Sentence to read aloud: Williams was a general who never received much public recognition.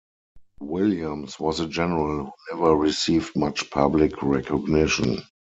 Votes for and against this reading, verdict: 0, 4, rejected